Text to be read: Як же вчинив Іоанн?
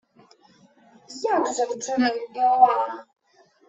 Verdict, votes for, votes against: accepted, 2, 1